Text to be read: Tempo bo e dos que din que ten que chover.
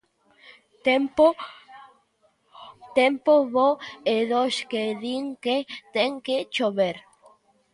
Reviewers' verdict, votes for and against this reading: rejected, 0, 2